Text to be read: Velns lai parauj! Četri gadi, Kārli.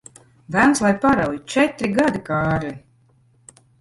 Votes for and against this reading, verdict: 1, 2, rejected